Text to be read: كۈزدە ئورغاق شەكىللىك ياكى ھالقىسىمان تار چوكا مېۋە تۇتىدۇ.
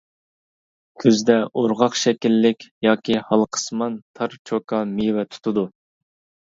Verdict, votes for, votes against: accepted, 2, 0